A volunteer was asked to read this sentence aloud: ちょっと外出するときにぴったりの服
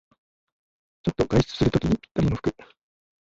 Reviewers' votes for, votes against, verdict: 1, 2, rejected